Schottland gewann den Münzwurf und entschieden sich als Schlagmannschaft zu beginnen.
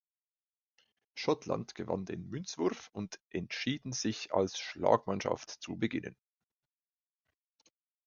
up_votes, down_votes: 2, 0